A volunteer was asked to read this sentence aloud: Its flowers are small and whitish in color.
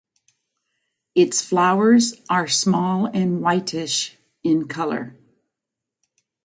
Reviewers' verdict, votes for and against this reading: accepted, 2, 0